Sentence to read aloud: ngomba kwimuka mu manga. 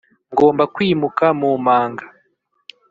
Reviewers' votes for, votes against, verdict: 2, 0, accepted